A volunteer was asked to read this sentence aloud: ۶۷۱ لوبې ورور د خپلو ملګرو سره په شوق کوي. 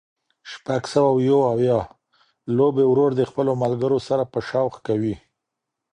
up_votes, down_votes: 0, 2